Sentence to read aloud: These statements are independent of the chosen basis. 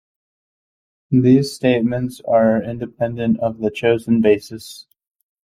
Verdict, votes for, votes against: accepted, 2, 0